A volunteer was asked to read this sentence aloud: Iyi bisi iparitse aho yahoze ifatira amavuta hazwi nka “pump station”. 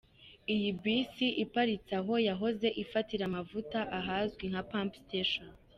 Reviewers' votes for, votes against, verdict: 2, 1, accepted